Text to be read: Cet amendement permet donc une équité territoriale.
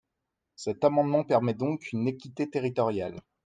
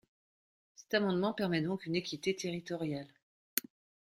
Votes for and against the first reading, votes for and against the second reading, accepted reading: 2, 0, 0, 2, first